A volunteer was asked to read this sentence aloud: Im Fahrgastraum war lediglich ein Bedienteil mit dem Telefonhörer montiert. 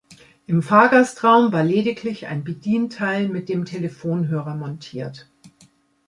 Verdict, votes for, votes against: accepted, 2, 0